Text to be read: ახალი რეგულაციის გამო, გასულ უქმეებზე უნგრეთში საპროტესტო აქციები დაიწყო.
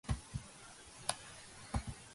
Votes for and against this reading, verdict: 1, 2, rejected